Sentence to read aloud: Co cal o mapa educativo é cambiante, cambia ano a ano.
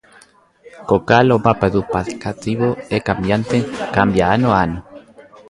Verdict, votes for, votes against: rejected, 0, 2